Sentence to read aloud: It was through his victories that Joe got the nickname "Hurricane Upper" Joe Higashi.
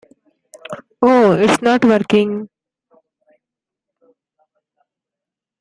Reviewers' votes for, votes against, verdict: 0, 2, rejected